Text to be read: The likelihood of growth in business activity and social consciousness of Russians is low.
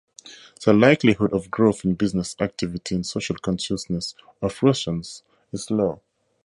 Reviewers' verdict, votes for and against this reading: accepted, 2, 0